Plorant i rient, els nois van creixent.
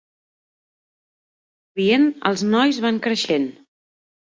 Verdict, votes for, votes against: rejected, 0, 2